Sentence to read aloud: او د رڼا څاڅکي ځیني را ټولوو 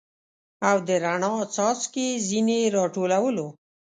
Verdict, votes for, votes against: rejected, 0, 2